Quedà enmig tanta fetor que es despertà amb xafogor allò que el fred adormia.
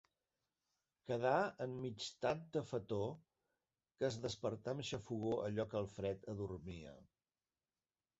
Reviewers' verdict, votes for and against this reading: rejected, 1, 2